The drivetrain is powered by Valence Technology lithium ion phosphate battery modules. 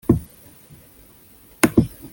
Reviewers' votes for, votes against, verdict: 0, 2, rejected